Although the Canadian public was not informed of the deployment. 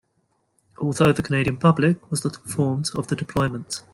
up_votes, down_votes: 0, 2